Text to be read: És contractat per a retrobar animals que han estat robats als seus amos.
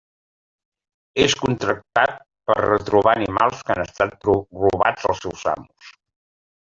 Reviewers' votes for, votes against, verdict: 1, 2, rejected